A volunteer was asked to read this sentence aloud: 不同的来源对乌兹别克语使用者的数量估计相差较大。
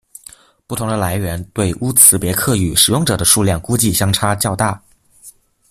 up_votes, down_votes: 0, 2